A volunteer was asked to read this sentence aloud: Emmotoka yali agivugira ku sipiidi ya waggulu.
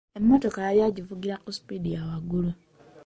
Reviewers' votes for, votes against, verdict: 1, 2, rejected